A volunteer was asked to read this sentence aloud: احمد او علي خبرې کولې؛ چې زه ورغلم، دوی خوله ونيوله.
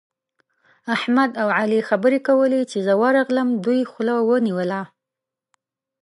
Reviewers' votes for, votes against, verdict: 2, 0, accepted